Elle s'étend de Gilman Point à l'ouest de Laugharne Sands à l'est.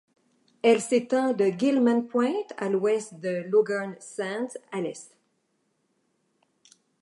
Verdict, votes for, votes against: accepted, 2, 0